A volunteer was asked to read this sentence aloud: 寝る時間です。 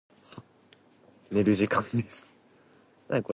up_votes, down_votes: 0, 4